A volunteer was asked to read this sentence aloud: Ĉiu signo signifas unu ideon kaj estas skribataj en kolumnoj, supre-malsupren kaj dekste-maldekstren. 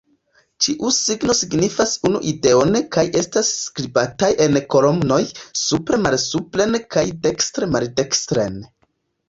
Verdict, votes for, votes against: rejected, 1, 2